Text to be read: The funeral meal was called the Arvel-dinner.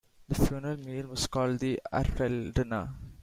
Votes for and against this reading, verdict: 2, 0, accepted